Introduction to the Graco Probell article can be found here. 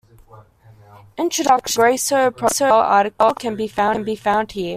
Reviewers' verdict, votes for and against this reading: rejected, 0, 2